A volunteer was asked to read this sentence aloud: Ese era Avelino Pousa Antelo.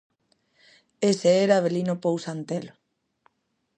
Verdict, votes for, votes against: accepted, 2, 0